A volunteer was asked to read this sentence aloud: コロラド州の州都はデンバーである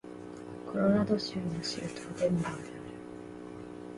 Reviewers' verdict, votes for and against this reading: accepted, 2, 0